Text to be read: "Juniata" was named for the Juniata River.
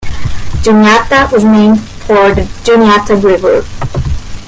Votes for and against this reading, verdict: 1, 2, rejected